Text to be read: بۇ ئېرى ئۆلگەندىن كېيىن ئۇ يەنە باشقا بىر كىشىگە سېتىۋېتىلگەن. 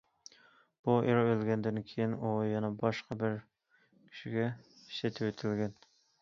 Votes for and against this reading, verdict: 2, 0, accepted